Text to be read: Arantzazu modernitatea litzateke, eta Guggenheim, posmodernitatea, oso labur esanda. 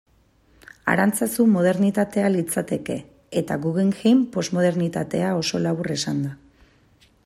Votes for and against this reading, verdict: 2, 0, accepted